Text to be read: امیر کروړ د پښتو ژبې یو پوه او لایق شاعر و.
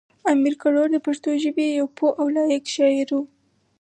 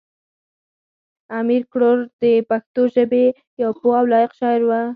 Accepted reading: first